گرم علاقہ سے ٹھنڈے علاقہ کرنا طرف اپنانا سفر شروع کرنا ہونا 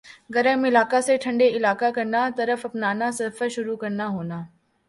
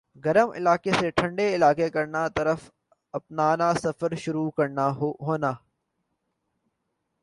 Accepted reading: second